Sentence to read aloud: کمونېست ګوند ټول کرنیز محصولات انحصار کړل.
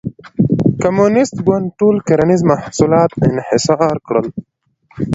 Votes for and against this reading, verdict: 1, 2, rejected